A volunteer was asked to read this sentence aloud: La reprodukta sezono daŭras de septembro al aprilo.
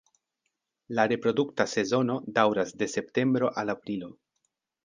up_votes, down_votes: 3, 0